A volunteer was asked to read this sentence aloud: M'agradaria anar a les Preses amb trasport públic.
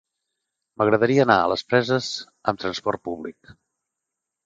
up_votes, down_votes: 3, 0